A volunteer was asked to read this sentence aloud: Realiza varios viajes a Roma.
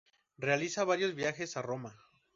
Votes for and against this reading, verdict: 2, 2, rejected